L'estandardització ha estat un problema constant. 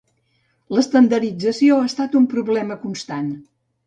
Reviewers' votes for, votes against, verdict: 2, 0, accepted